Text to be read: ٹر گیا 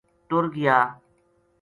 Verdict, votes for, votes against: accepted, 2, 0